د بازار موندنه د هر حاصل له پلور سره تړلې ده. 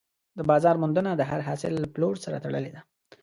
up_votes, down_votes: 2, 0